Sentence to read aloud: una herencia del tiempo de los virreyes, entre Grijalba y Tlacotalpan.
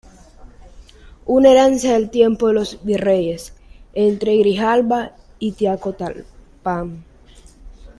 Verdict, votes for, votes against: rejected, 1, 2